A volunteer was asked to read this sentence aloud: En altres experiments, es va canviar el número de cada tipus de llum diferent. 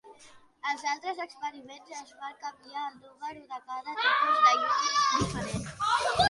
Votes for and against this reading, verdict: 0, 2, rejected